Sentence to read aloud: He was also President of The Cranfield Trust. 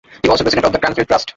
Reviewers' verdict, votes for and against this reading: rejected, 0, 2